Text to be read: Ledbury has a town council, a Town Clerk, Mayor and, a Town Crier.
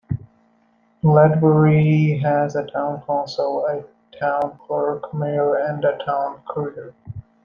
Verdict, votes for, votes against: rejected, 1, 2